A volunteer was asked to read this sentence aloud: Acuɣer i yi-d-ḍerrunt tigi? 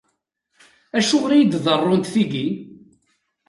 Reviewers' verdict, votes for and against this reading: accepted, 2, 0